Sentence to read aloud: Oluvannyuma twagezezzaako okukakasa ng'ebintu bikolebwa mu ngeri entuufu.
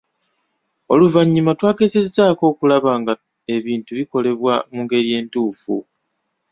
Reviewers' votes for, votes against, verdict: 1, 2, rejected